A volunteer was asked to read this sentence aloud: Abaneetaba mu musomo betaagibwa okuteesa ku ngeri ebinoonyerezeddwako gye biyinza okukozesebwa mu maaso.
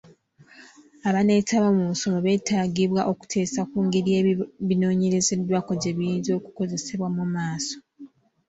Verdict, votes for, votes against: accepted, 2, 0